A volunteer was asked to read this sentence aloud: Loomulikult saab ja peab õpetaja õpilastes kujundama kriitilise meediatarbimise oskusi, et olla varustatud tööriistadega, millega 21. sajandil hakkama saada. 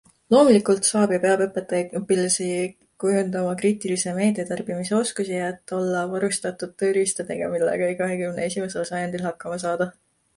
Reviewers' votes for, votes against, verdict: 0, 2, rejected